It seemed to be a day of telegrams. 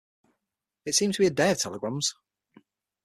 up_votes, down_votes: 3, 6